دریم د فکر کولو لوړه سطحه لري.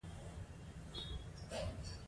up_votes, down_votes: 1, 2